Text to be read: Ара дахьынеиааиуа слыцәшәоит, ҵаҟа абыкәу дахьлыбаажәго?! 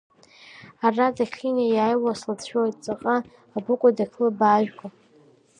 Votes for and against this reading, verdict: 2, 1, accepted